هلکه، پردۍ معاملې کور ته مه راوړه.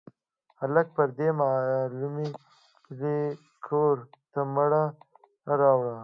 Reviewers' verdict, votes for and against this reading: accepted, 2, 1